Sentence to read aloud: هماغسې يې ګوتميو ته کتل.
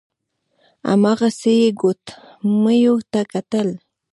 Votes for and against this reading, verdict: 1, 2, rejected